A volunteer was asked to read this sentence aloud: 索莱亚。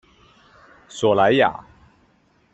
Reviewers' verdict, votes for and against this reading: accepted, 2, 0